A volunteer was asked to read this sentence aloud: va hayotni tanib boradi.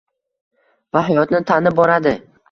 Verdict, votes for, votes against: accepted, 2, 1